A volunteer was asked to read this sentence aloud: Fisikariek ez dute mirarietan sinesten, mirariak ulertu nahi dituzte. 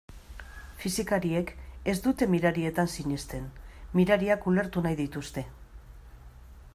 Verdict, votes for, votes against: accepted, 2, 0